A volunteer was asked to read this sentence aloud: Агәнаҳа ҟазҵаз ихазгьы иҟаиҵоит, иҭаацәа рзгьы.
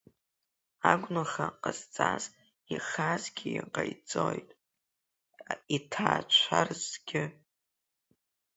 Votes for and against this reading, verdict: 3, 1, accepted